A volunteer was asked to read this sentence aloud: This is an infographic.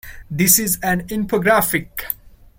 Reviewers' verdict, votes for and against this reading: accepted, 2, 0